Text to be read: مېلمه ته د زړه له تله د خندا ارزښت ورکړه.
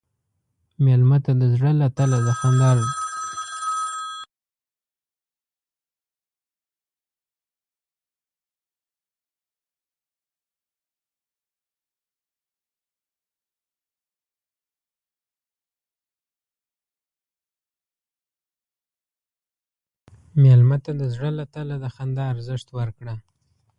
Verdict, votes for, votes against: rejected, 0, 2